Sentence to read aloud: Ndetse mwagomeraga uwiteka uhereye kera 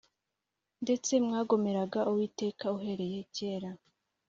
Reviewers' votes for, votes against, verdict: 2, 0, accepted